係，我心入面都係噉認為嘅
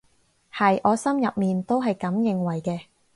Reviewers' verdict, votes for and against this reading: accepted, 4, 0